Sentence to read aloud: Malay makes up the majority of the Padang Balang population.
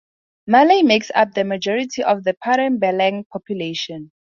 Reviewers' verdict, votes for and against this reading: accepted, 2, 0